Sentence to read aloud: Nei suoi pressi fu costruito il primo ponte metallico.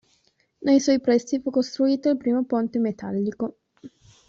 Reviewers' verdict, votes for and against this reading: rejected, 1, 2